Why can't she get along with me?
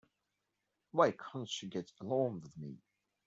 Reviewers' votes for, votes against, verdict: 1, 2, rejected